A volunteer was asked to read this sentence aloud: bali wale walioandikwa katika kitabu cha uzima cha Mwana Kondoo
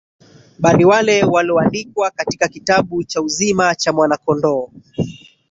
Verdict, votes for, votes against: rejected, 1, 2